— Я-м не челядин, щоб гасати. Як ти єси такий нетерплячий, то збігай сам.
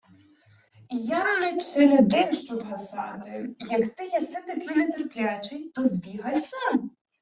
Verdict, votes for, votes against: accepted, 2, 1